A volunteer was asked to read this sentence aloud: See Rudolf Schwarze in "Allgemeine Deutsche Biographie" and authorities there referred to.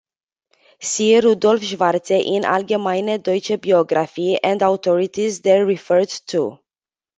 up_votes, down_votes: 2, 0